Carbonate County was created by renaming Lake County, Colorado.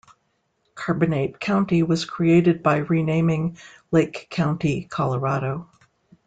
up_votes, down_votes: 2, 0